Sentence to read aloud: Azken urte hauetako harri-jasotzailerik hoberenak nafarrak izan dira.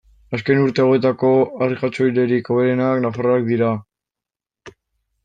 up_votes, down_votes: 0, 2